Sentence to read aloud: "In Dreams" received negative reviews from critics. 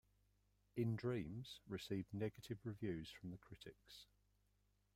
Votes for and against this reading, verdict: 2, 1, accepted